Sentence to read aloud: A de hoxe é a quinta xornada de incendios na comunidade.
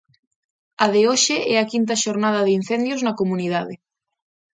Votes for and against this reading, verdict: 2, 0, accepted